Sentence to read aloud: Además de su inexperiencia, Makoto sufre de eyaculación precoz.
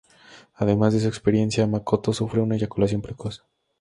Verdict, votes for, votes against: rejected, 0, 2